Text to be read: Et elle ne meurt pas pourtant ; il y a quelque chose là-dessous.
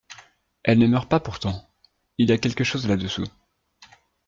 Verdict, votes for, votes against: rejected, 0, 2